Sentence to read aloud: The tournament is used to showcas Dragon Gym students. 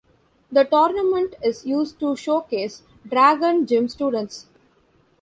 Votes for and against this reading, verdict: 1, 2, rejected